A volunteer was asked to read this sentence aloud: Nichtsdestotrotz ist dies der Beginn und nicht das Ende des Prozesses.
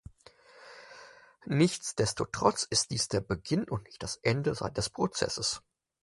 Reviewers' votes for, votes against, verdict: 2, 6, rejected